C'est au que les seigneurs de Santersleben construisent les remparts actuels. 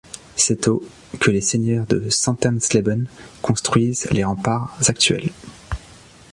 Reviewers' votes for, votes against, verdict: 2, 0, accepted